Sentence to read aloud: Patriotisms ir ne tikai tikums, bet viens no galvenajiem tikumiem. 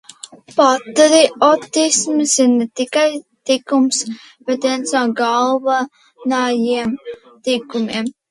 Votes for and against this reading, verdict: 1, 2, rejected